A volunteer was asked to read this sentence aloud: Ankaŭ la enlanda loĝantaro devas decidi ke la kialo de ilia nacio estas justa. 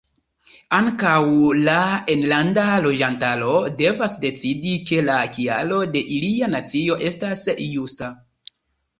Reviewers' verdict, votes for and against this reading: rejected, 1, 2